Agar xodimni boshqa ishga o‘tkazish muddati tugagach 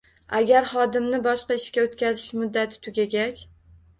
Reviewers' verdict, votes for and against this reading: accepted, 2, 0